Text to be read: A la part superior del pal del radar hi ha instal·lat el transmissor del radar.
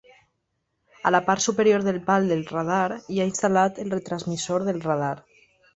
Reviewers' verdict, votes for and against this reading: rejected, 0, 2